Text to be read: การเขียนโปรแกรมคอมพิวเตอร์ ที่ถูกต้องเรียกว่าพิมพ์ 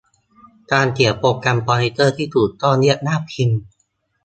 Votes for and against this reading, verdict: 2, 1, accepted